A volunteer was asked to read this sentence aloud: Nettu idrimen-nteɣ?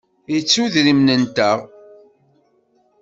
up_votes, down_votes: 1, 2